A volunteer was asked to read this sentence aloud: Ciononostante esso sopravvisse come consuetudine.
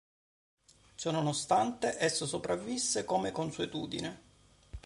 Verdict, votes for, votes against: accepted, 2, 0